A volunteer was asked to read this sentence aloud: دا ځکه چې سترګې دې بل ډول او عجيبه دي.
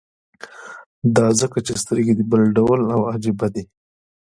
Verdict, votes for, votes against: accepted, 2, 1